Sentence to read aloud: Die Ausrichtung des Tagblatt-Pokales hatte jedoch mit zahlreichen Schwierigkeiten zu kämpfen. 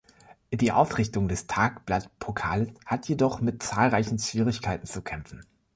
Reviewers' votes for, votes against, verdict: 0, 2, rejected